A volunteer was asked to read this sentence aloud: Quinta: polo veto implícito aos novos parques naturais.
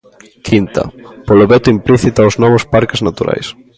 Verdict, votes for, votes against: accepted, 2, 0